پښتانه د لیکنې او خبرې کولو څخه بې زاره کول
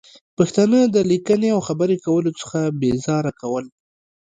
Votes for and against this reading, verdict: 2, 0, accepted